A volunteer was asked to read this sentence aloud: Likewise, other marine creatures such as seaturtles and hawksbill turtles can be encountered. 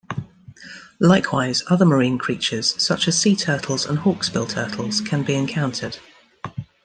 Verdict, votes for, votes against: accepted, 2, 1